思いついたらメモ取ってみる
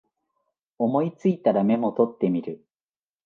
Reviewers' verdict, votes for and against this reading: accepted, 2, 0